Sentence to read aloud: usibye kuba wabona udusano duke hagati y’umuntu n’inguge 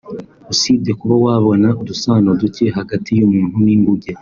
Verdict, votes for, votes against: accepted, 3, 0